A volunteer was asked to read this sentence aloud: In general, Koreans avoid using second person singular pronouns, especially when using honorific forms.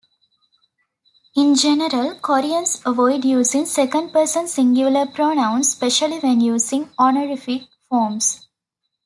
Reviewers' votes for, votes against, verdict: 2, 0, accepted